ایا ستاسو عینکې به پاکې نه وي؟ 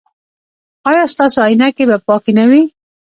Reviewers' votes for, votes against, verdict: 2, 0, accepted